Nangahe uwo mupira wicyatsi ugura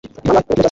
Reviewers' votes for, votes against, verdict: 1, 2, rejected